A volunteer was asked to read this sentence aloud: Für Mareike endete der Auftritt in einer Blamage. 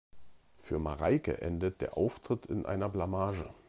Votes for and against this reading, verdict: 0, 2, rejected